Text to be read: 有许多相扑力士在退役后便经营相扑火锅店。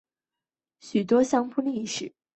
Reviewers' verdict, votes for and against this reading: rejected, 0, 4